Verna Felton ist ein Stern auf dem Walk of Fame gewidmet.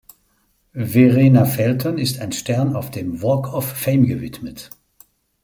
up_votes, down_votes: 0, 2